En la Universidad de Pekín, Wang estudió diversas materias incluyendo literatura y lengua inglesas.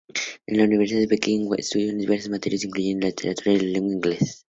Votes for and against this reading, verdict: 0, 2, rejected